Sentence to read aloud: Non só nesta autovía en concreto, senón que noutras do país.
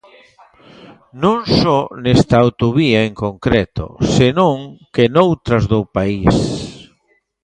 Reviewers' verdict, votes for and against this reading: accepted, 2, 0